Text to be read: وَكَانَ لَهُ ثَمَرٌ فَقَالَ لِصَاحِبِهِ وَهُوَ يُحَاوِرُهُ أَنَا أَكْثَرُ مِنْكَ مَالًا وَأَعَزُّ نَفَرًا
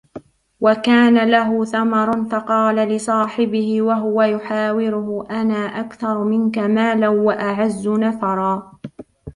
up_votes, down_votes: 0, 2